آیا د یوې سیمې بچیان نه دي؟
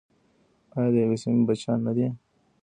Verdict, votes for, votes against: rejected, 1, 2